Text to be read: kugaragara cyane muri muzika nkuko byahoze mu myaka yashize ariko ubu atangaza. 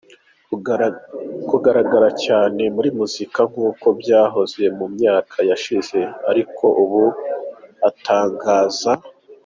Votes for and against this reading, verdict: 2, 0, accepted